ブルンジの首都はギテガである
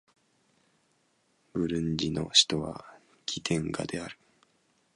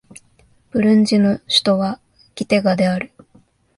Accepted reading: second